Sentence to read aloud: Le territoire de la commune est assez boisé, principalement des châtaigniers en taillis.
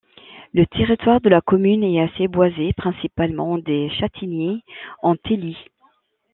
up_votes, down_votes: 0, 2